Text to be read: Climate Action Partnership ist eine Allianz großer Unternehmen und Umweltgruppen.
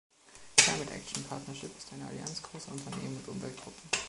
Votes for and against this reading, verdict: 0, 2, rejected